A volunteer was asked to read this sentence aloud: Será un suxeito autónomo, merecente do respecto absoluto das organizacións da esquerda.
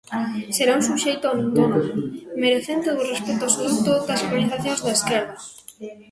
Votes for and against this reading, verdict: 0, 2, rejected